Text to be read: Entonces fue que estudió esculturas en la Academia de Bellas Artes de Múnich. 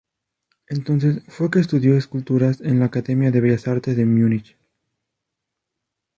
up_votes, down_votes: 2, 2